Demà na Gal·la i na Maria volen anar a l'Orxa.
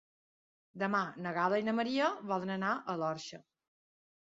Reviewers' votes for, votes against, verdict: 3, 0, accepted